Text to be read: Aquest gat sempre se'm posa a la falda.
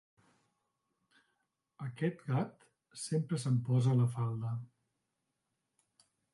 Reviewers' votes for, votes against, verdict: 0, 2, rejected